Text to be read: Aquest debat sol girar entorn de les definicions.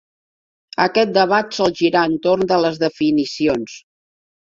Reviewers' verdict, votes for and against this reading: accepted, 3, 0